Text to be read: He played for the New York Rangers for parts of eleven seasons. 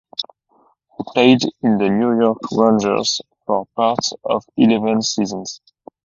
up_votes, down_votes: 2, 2